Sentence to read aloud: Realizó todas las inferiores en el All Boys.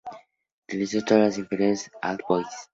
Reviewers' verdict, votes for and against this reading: rejected, 0, 2